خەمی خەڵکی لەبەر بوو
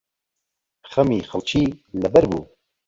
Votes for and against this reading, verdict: 1, 2, rejected